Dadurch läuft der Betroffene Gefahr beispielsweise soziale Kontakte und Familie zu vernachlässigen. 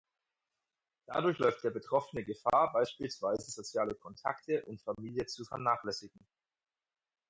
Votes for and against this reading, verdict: 4, 0, accepted